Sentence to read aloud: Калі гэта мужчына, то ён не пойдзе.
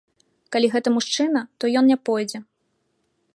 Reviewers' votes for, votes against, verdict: 2, 0, accepted